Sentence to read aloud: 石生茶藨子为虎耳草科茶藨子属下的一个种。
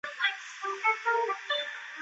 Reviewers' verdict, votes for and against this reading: rejected, 0, 2